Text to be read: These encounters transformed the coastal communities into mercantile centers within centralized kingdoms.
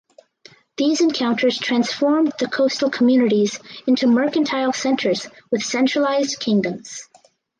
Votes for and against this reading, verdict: 4, 0, accepted